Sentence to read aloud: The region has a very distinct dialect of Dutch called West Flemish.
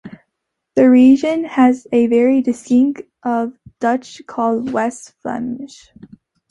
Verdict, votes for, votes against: rejected, 0, 2